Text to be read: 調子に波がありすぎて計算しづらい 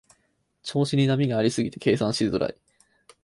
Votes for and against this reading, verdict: 4, 0, accepted